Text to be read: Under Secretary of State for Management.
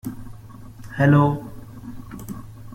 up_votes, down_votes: 0, 2